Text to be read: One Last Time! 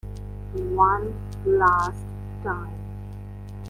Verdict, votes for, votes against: rejected, 1, 2